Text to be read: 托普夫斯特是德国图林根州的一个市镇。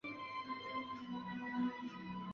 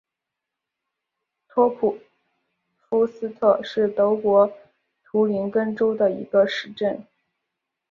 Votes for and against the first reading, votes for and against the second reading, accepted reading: 0, 2, 2, 0, second